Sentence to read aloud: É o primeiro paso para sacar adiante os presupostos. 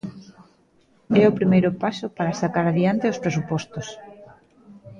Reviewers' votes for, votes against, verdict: 0, 3, rejected